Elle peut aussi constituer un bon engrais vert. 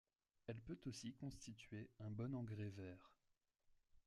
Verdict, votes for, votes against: accepted, 2, 0